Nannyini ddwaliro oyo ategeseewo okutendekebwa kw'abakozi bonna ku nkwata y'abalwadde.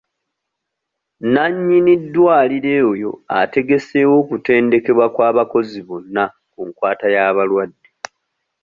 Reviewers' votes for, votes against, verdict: 0, 2, rejected